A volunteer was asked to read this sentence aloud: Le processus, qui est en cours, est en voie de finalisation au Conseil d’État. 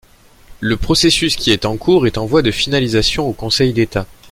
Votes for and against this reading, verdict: 2, 0, accepted